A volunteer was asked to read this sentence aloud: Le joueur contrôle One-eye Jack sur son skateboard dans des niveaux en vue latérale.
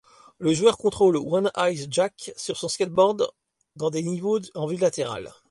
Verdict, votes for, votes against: rejected, 0, 2